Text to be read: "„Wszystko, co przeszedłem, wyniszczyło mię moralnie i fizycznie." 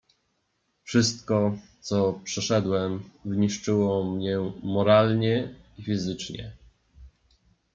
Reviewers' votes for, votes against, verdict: 1, 2, rejected